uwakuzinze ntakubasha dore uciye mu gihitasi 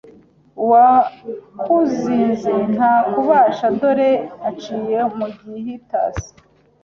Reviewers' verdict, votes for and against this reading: rejected, 1, 2